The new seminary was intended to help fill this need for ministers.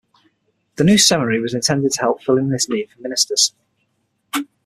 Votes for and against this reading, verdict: 3, 6, rejected